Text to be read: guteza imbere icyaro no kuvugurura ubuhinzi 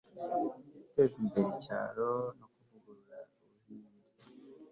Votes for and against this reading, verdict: 2, 1, accepted